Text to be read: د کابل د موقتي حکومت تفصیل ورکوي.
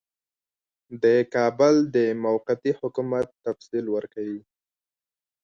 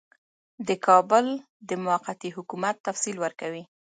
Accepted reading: first